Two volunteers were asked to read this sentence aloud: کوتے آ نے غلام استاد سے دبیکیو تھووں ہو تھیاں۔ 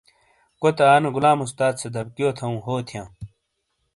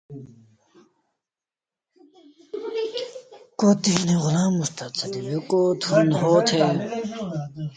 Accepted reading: first